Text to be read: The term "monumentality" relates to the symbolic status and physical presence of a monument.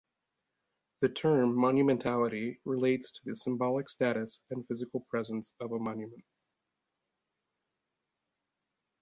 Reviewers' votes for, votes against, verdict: 2, 1, accepted